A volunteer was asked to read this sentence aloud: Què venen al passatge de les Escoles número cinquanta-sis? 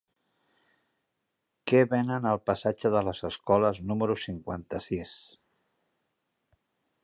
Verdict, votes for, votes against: rejected, 0, 2